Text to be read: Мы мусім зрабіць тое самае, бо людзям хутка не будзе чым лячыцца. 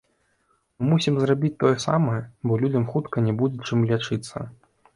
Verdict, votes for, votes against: rejected, 0, 2